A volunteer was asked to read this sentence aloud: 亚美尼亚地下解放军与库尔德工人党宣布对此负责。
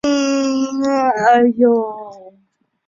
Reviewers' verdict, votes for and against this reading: rejected, 0, 3